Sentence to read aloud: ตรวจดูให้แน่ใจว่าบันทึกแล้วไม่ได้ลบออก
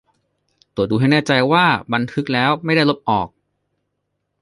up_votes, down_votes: 2, 0